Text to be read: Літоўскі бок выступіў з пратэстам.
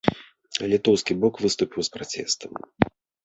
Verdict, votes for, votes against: rejected, 1, 2